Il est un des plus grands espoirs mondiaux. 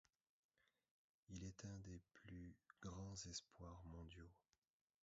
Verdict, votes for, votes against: rejected, 1, 2